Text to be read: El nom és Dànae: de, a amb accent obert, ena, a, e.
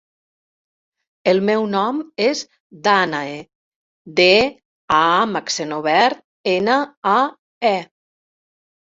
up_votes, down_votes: 0, 2